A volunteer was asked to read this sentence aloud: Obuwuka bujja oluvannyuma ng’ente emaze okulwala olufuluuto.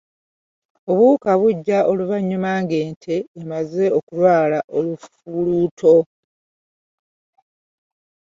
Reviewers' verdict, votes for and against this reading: rejected, 1, 2